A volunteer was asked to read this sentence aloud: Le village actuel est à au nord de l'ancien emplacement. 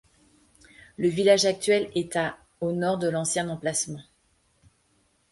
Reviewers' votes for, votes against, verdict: 2, 0, accepted